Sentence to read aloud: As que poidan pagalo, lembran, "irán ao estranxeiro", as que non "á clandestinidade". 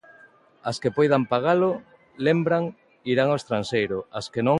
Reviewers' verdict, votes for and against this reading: rejected, 0, 2